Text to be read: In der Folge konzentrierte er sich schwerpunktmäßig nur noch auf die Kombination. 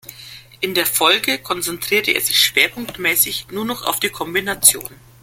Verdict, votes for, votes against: accepted, 2, 0